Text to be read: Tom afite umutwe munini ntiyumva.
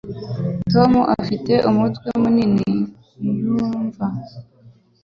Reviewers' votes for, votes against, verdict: 3, 0, accepted